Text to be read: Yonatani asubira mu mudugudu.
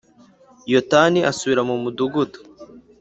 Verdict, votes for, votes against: rejected, 1, 3